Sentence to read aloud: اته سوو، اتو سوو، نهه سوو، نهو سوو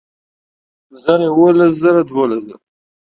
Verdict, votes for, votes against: rejected, 0, 2